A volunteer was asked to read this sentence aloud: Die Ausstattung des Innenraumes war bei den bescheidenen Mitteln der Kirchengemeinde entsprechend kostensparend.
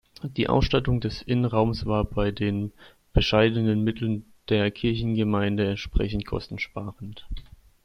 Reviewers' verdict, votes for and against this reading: accepted, 2, 0